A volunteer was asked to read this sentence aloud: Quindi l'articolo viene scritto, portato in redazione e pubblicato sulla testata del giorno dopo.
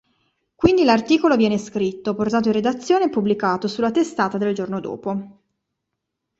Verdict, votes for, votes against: accepted, 2, 0